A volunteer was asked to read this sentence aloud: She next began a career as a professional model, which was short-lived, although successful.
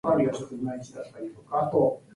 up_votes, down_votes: 0, 2